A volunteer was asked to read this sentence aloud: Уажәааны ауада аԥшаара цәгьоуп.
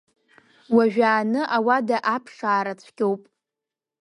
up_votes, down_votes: 2, 0